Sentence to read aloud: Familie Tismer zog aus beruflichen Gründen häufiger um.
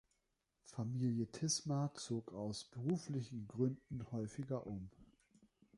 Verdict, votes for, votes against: accepted, 2, 0